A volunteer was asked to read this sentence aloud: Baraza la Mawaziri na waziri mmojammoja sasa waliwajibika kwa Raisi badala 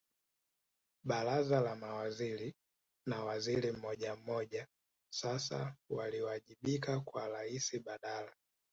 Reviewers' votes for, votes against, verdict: 3, 0, accepted